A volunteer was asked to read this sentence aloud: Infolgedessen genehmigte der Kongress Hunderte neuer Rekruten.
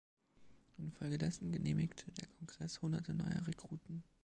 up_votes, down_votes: 2, 0